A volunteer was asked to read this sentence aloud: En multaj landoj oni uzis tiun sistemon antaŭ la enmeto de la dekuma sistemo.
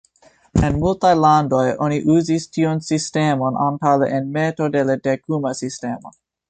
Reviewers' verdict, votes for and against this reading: accepted, 2, 0